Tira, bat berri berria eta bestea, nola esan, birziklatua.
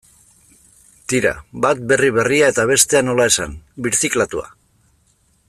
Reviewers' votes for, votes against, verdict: 1, 2, rejected